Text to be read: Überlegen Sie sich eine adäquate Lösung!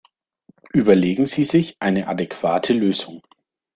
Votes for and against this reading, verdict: 2, 0, accepted